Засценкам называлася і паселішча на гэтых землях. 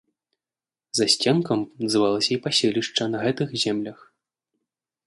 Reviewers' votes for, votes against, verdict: 2, 0, accepted